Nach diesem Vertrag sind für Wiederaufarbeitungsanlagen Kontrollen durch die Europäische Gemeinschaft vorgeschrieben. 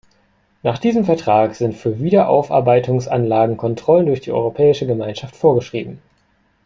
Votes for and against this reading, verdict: 2, 0, accepted